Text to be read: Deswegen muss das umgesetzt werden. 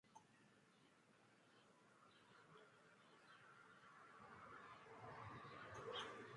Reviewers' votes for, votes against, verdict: 0, 2, rejected